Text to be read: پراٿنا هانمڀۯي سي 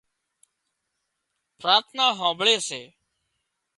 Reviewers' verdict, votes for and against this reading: accepted, 2, 0